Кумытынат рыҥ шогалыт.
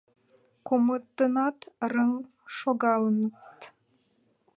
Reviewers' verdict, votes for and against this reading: rejected, 1, 2